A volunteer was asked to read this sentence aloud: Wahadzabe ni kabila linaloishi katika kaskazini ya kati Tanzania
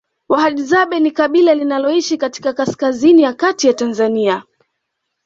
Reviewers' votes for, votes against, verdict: 2, 0, accepted